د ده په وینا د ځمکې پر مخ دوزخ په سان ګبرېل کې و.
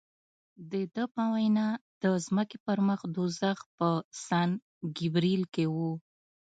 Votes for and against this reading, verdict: 1, 2, rejected